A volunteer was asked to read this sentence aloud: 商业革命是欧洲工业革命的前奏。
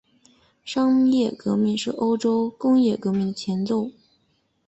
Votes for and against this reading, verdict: 2, 0, accepted